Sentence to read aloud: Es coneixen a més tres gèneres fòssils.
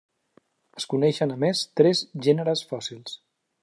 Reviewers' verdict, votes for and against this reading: accepted, 3, 0